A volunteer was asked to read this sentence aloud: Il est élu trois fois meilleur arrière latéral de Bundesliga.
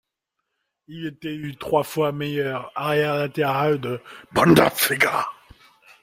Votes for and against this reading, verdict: 1, 2, rejected